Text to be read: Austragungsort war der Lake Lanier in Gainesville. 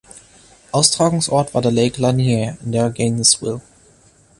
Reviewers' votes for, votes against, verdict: 1, 2, rejected